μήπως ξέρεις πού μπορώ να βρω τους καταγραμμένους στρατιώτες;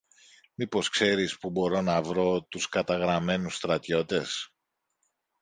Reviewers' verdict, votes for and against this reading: accepted, 3, 0